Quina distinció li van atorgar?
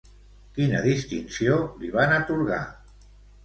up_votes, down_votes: 2, 0